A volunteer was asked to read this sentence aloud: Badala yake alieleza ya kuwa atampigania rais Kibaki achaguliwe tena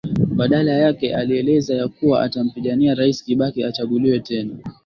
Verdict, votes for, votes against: accepted, 3, 1